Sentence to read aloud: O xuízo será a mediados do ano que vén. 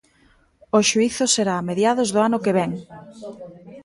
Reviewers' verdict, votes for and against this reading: rejected, 0, 2